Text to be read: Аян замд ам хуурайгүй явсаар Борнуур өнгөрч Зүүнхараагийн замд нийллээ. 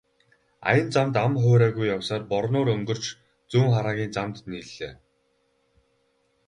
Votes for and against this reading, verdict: 0, 2, rejected